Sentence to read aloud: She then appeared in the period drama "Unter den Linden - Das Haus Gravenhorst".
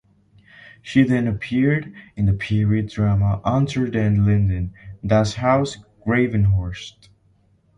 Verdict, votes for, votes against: accepted, 2, 0